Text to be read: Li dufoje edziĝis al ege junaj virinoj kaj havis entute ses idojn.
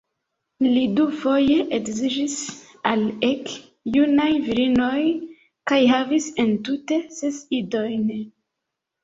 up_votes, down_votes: 2, 0